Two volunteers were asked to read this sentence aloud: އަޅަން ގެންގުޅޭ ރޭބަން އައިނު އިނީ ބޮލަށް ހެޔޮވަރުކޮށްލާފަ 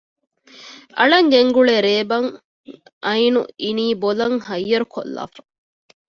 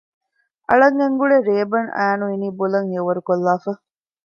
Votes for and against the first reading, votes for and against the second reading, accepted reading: 1, 2, 2, 0, second